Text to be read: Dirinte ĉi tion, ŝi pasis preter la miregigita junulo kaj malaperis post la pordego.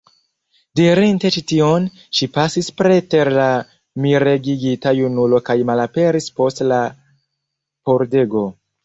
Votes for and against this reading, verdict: 0, 2, rejected